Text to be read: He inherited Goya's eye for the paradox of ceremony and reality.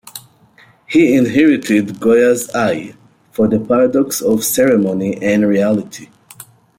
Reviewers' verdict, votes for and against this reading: accepted, 2, 0